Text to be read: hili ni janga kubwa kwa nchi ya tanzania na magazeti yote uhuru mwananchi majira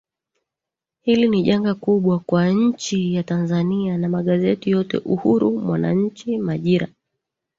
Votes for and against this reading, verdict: 1, 2, rejected